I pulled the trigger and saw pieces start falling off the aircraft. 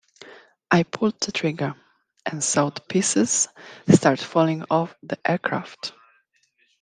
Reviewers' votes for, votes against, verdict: 2, 1, accepted